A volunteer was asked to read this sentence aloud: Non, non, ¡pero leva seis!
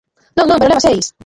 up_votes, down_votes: 0, 2